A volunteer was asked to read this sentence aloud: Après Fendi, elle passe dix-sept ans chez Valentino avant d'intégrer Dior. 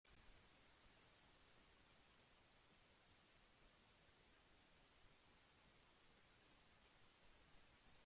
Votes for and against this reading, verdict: 1, 2, rejected